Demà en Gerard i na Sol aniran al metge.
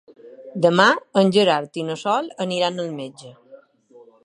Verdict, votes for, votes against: accepted, 3, 0